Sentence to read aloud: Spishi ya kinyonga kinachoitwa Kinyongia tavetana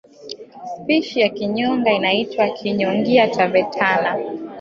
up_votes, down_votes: 1, 3